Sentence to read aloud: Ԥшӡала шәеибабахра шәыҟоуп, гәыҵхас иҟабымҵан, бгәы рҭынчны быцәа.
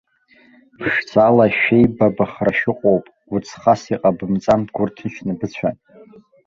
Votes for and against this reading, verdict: 1, 2, rejected